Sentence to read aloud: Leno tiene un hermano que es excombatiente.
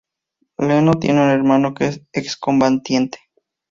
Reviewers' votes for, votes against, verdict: 0, 2, rejected